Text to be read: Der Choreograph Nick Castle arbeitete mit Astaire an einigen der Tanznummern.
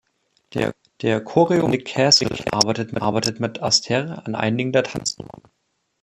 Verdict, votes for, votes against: rejected, 1, 2